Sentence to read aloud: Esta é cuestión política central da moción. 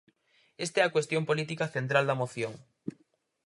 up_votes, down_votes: 0, 4